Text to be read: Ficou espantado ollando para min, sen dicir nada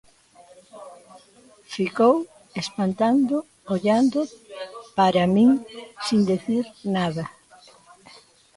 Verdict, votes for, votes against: rejected, 0, 2